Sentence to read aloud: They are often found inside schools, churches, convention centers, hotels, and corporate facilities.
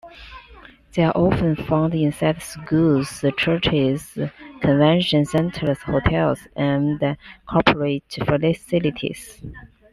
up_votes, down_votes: 2, 0